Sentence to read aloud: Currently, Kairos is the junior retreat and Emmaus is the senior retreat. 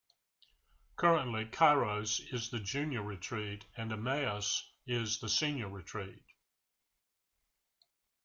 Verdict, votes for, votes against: accepted, 2, 0